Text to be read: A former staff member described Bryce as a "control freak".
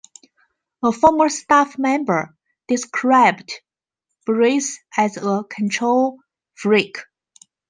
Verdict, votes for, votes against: rejected, 1, 2